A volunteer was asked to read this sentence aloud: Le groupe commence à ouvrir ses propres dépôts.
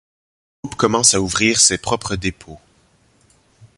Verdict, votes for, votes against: rejected, 0, 2